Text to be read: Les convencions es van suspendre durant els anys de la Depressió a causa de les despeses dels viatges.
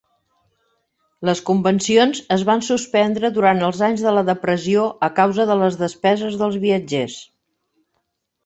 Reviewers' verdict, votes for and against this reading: rejected, 0, 2